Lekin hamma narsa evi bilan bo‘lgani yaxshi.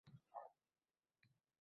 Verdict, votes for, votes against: rejected, 0, 2